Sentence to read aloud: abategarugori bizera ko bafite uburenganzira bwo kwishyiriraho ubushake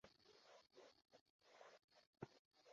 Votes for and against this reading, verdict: 0, 2, rejected